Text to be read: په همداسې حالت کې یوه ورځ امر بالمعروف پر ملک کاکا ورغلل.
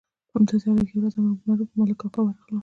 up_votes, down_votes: 2, 0